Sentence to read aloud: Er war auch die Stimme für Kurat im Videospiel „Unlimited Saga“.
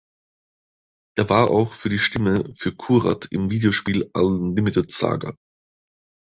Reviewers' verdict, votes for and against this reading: rejected, 1, 2